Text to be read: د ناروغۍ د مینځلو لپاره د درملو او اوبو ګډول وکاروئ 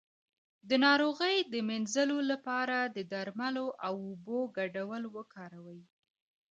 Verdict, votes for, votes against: accepted, 2, 0